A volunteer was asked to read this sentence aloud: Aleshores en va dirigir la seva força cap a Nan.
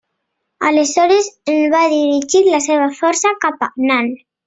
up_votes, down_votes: 2, 1